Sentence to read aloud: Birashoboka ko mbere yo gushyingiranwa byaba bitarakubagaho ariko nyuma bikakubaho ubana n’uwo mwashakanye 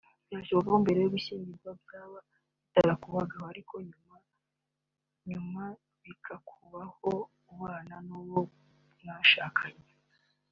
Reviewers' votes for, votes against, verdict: 1, 2, rejected